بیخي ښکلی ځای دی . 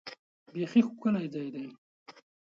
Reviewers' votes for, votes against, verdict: 4, 0, accepted